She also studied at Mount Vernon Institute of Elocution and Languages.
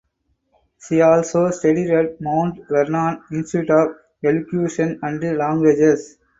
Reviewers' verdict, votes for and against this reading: rejected, 2, 4